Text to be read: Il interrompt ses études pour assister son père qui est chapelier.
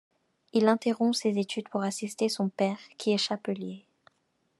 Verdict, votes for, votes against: accepted, 2, 0